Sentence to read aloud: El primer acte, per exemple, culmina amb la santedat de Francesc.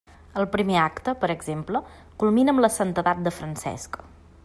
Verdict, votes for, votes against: accepted, 2, 0